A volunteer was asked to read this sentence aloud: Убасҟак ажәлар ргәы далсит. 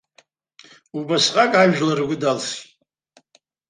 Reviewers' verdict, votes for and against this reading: rejected, 0, 2